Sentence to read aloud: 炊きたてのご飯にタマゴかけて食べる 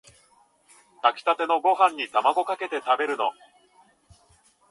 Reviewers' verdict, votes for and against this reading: rejected, 0, 2